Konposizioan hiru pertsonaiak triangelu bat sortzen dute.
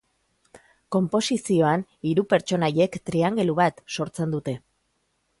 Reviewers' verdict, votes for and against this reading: rejected, 1, 2